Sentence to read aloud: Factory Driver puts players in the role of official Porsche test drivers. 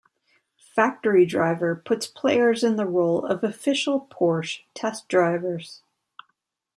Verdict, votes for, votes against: accepted, 2, 0